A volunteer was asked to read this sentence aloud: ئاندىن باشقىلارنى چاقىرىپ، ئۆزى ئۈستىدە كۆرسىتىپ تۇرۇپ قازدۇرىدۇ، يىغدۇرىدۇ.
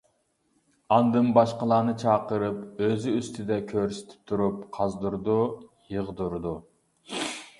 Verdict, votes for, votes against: accepted, 2, 0